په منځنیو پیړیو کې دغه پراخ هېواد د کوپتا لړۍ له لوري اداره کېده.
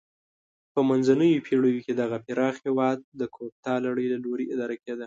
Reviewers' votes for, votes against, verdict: 2, 0, accepted